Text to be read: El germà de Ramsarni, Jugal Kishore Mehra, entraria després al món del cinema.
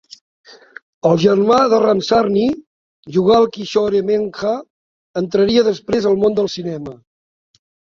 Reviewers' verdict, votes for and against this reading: rejected, 1, 2